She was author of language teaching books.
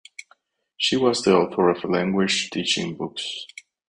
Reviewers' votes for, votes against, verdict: 0, 4, rejected